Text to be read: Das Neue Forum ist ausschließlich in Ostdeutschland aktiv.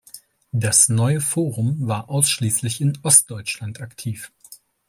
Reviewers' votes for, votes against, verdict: 0, 2, rejected